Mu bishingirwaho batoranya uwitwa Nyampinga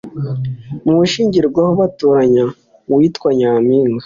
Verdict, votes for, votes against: accepted, 2, 0